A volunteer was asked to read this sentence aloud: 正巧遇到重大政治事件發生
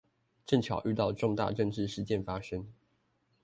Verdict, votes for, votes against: accepted, 2, 0